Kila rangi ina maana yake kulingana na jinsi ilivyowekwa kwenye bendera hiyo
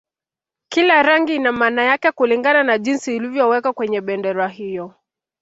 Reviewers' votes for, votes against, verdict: 0, 2, rejected